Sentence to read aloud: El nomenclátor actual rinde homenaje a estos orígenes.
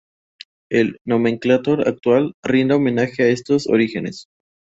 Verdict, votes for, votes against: accepted, 4, 0